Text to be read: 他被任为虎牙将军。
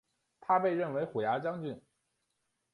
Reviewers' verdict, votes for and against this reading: accepted, 4, 0